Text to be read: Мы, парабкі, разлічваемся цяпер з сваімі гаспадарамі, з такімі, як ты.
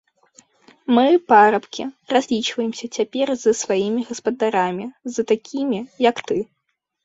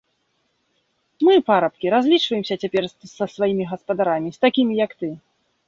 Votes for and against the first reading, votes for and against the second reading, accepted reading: 2, 0, 1, 2, first